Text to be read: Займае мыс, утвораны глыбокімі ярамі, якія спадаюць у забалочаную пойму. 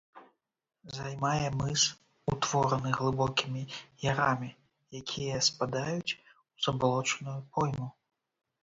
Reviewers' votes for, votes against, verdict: 3, 0, accepted